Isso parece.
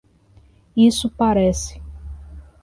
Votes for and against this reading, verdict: 2, 0, accepted